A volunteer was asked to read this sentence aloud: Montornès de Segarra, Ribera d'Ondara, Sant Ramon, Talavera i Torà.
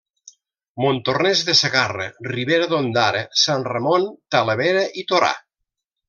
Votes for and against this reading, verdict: 3, 0, accepted